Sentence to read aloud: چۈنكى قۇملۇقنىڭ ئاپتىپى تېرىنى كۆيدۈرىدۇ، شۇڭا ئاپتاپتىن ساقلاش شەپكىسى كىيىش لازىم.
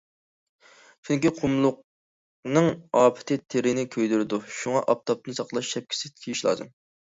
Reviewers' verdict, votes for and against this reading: rejected, 1, 2